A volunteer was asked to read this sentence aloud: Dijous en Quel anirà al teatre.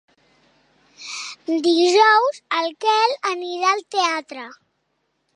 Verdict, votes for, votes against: rejected, 0, 2